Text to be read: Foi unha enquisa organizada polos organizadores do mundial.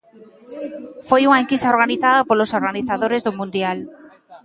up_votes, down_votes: 2, 0